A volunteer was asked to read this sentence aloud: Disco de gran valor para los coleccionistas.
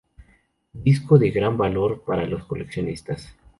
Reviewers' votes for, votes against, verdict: 2, 0, accepted